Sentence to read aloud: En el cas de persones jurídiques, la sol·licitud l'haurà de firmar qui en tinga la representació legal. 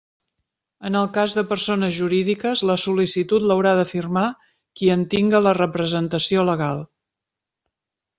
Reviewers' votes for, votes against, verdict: 2, 0, accepted